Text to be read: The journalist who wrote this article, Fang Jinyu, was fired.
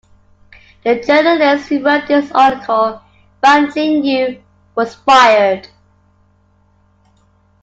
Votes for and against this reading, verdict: 0, 2, rejected